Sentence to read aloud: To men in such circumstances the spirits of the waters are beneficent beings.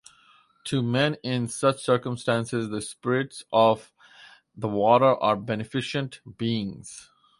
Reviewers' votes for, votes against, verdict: 2, 2, rejected